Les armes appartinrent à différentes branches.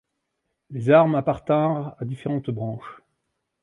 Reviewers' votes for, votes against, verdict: 0, 2, rejected